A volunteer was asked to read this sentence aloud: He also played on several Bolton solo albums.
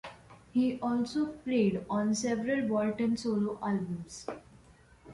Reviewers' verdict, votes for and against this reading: accepted, 2, 1